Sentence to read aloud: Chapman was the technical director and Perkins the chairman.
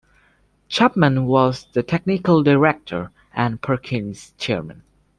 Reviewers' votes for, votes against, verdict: 0, 2, rejected